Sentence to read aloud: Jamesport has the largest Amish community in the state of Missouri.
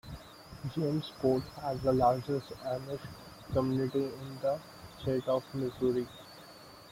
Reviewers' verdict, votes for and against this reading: rejected, 0, 2